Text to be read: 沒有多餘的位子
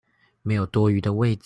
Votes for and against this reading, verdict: 0, 2, rejected